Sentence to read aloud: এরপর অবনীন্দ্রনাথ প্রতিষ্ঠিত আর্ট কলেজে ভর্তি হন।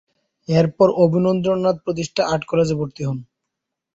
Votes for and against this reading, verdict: 0, 3, rejected